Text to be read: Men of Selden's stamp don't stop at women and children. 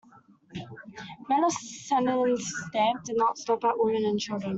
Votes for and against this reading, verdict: 1, 2, rejected